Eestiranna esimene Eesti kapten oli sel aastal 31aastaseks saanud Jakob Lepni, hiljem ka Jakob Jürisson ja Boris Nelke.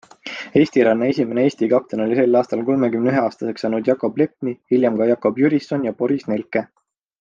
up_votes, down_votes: 0, 2